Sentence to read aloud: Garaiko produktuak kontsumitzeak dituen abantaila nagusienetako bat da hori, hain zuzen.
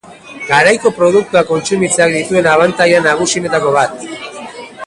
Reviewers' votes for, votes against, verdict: 0, 2, rejected